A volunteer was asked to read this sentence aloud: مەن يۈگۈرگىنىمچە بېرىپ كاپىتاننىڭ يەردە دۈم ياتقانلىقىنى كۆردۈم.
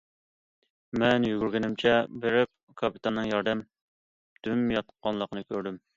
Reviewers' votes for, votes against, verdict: 1, 2, rejected